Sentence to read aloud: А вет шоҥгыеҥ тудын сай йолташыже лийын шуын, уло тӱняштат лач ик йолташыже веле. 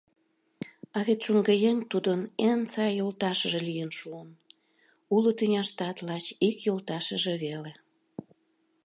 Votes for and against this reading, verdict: 0, 2, rejected